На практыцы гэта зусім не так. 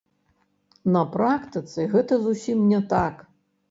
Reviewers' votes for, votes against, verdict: 1, 2, rejected